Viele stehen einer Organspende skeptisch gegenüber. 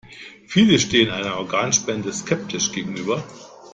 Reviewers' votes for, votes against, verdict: 2, 0, accepted